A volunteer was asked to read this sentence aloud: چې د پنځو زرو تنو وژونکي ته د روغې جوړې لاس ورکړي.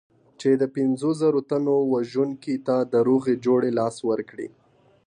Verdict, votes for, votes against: accepted, 2, 0